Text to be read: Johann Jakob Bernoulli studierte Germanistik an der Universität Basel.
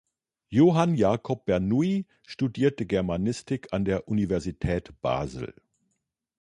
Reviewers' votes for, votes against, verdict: 2, 1, accepted